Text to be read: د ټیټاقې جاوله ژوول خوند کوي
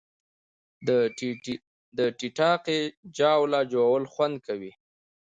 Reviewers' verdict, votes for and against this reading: accepted, 2, 0